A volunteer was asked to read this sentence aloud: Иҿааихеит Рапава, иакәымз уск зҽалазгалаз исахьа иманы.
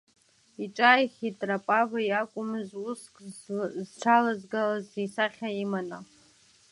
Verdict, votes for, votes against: rejected, 1, 2